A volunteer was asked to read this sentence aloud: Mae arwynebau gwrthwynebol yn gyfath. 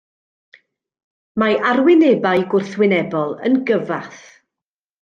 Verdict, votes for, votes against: accepted, 2, 0